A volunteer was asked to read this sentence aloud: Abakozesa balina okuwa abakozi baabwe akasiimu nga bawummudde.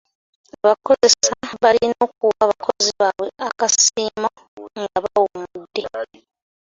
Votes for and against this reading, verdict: 0, 2, rejected